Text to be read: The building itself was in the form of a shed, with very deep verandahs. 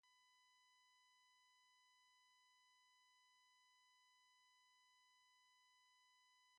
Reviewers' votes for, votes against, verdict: 0, 2, rejected